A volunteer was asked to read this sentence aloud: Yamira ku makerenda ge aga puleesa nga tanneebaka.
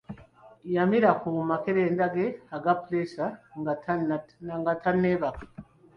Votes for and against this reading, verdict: 2, 1, accepted